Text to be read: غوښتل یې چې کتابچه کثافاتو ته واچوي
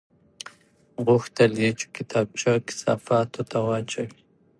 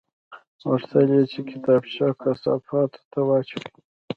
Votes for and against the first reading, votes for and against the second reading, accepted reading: 2, 0, 0, 2, first